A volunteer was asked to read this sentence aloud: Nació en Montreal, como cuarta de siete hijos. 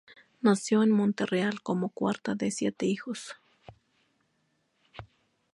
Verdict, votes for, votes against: accepted, 2, 0